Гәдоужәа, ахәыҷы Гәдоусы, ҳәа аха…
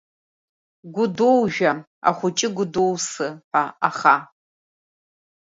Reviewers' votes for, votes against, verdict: 2, 1, accepted